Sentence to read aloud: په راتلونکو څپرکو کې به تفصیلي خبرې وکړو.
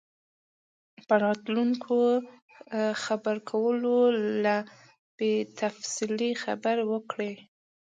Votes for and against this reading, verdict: 1, 2, rejected